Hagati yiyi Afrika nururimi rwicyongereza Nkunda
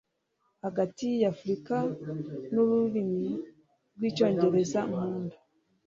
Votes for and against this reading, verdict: 3, 1, accepted